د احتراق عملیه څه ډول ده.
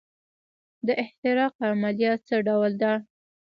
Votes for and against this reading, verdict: 2, 0, accepted